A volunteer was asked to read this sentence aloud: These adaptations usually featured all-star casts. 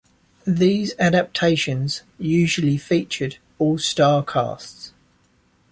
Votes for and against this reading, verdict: 2, 0, accepted